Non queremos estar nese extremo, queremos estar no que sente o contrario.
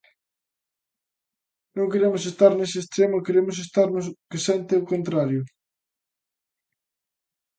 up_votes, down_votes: 2, 1